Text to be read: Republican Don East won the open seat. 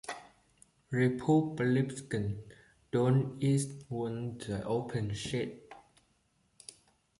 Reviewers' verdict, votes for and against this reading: rejected, 1, 2